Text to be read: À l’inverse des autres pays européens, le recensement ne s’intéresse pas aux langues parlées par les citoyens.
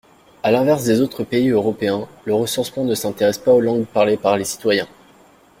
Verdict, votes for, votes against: rejected, 1, 2